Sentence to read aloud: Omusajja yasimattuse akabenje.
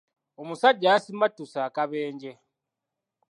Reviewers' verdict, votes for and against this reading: accepted, 2, 0